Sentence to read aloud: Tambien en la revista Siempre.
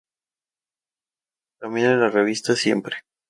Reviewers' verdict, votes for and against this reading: rejected, 0, 2